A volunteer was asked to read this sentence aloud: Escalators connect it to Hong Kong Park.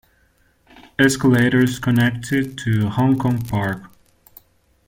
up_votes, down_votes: 1, 2